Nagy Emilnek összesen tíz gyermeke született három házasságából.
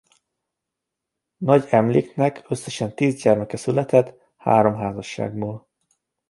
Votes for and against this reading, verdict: 0, 2, rejected